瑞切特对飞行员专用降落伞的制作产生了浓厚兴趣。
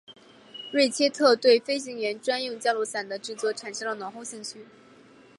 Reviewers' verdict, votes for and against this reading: accepted, 4, 0